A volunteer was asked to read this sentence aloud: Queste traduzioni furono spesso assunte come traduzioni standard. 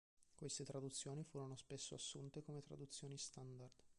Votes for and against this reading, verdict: 2, 0, accepted